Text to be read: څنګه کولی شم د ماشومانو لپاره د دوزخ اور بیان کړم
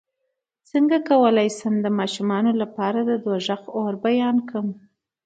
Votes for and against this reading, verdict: 2, 0, accepted